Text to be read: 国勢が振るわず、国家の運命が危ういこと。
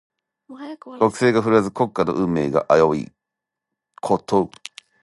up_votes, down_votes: 2, 0